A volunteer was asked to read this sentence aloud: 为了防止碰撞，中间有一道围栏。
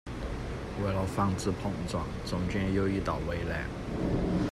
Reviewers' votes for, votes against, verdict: 1, 2, rejected